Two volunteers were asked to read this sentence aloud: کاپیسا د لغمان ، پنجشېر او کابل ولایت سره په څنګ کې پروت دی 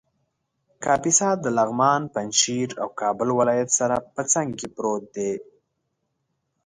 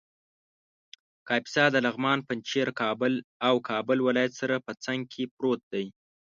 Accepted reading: first